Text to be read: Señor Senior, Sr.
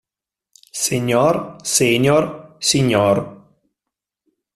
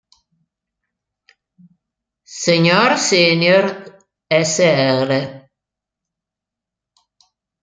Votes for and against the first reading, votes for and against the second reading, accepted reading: 3, 0, 1, 2, first